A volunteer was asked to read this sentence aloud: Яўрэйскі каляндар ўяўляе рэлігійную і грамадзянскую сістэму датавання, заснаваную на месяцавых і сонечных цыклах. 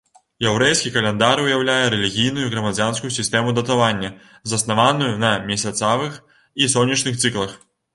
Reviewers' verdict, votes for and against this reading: rejected, 0, 3